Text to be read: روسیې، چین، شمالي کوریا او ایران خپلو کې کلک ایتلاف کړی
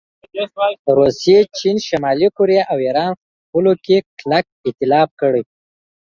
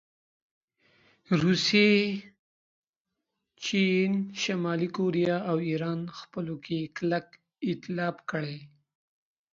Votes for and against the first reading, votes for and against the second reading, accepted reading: 0, 2, 2, 0, second